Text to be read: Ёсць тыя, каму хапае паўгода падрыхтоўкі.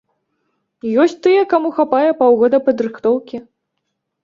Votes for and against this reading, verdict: 2, 0, accepted